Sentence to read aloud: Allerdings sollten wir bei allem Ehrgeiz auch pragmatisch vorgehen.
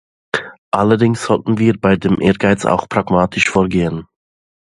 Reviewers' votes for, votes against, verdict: 0, 2, rejected